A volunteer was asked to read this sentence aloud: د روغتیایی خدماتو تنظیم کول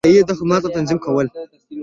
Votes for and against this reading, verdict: 0, 2, rejected